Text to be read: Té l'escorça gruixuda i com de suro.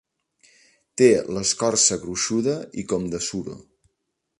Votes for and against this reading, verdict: 3, 0, accepted